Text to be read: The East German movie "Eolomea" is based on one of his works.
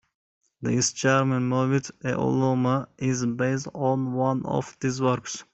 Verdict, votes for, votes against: rejected, 0, 2